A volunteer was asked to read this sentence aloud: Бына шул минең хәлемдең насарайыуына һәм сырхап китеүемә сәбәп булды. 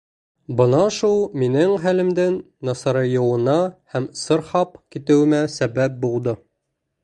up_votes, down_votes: 2, 0